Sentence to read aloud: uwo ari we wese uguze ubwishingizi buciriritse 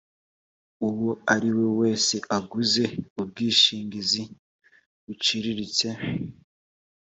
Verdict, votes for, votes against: accepted, 4, 0